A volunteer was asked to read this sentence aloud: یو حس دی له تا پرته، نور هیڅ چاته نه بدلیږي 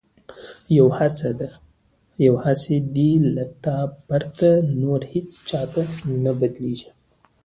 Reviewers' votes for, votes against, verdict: 2, 0, accepted